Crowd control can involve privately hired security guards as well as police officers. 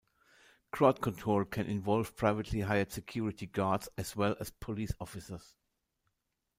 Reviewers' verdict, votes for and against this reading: accepted, 2, 1